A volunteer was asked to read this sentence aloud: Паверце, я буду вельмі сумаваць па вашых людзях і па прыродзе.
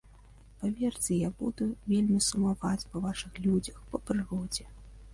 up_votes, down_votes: 1, 2